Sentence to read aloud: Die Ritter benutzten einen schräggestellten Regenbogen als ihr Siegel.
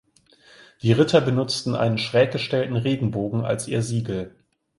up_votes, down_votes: 2, 0